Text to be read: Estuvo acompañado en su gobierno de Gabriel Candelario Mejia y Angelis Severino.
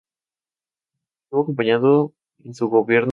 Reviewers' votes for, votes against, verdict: 0, 4, rejected